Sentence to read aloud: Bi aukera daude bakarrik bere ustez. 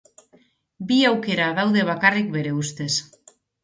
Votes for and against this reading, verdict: 3, 0, accepted